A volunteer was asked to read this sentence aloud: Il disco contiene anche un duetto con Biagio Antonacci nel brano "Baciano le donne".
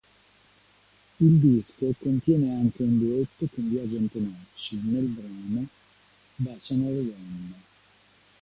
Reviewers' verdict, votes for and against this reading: rejected, 1, 2